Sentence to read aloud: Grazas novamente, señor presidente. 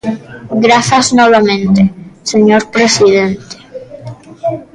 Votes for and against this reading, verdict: 0, 2, rejected